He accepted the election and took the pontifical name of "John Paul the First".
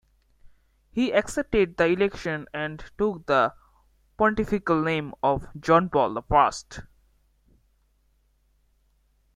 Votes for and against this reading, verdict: 2, 0, accepted